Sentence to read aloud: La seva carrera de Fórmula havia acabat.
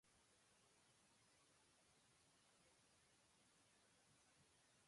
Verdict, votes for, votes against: rejected, 0, 2